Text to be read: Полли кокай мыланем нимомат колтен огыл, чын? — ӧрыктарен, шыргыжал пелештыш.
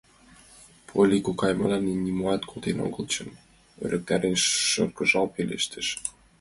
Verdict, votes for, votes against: rejected, 1, 2